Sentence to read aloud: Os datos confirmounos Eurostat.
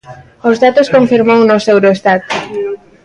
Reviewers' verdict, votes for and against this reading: rejected, 1, 2